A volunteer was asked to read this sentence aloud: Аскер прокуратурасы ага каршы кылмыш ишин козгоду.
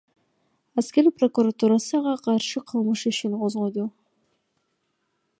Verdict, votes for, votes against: accepted, 2, 0